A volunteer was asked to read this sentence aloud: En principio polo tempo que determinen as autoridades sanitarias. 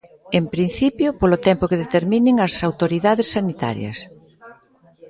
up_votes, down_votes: 2, 1